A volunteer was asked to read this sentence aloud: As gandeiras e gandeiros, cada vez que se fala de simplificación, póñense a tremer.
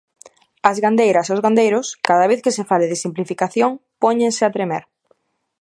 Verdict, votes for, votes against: rejected, 0, 2